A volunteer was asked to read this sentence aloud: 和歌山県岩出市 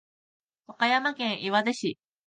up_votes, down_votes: 2, 0